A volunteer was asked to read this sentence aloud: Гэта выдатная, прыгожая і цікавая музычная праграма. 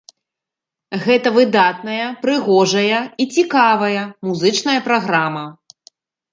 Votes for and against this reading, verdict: 2, 0, accepted